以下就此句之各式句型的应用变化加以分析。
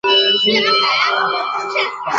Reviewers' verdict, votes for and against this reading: rejected, 1, 10